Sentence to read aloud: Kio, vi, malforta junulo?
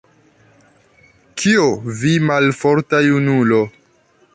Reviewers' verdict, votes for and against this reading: rejected, 0, 2